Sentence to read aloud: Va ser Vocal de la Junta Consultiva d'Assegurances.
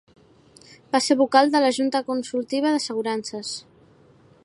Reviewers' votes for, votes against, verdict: 2, 0, accepted